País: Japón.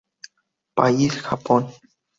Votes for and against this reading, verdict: 2, 0, accepted